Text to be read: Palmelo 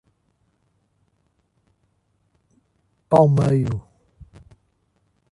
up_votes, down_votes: 1, 2